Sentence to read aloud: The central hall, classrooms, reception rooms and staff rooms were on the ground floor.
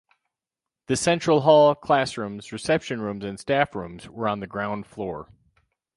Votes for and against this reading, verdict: 2, 2, rejected